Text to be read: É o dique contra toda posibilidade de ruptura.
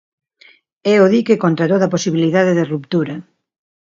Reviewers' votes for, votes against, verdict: 1, 2, rejected